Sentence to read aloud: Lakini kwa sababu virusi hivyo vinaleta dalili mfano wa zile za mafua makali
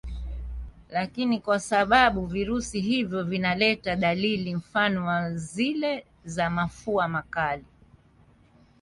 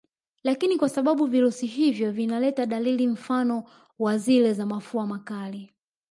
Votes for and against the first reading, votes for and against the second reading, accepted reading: 3, 1, 1, 2, first